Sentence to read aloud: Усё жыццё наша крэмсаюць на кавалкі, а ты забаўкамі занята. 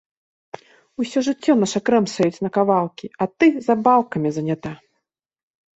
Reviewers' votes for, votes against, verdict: 1, 2, rejected